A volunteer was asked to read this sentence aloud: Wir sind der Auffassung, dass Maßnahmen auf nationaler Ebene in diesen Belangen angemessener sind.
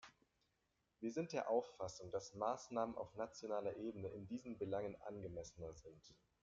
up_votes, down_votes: 2, 1